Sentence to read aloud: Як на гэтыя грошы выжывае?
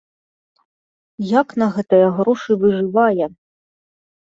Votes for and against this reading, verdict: 2, 0, accepted